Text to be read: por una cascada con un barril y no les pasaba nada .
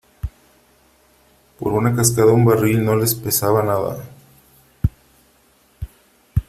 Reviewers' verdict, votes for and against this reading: rejected, 0, 3